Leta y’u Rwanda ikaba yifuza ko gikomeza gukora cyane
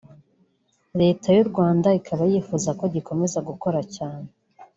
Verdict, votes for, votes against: rejected, 1, 2